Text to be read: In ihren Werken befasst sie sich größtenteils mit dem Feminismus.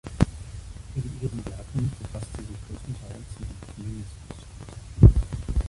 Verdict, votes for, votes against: rejected, 0, 2